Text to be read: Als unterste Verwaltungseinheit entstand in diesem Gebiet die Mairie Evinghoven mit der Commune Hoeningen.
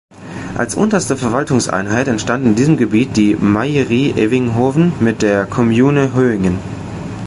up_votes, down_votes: 0, 2